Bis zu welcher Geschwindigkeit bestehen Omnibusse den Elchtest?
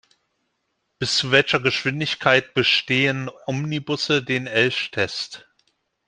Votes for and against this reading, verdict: 1, 2, rejected